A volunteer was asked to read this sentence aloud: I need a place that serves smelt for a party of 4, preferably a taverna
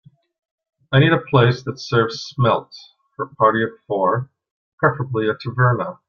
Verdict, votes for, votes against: rejected, 0, 2